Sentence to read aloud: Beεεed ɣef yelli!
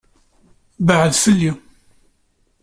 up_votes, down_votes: 0, 2